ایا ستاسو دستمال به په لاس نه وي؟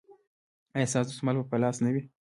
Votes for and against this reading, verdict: 2, 0, accepted